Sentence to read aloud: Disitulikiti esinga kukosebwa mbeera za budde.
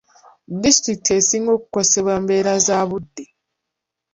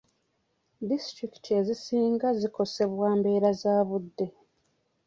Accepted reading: first